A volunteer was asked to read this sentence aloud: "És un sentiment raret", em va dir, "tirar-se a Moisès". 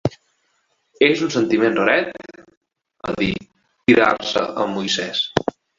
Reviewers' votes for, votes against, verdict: 1, 2, rejected